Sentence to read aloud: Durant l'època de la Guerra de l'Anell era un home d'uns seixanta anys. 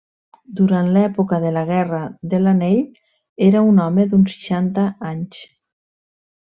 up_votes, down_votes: 3, 0